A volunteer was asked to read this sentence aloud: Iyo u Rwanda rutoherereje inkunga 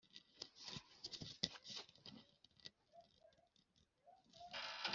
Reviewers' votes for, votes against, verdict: 0, 2, rejected